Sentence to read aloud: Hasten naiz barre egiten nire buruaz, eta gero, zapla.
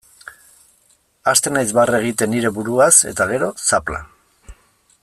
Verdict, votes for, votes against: accepted, 2, 0